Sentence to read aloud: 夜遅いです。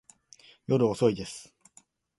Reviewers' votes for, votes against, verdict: 2, 0, accepted